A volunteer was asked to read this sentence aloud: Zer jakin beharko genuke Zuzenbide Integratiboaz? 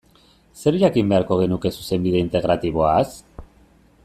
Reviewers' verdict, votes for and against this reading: accepted, 2, 0